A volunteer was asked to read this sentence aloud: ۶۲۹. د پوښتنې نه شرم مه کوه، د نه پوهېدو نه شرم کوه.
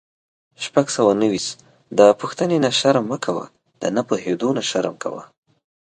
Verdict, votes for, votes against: rejected, 0, 2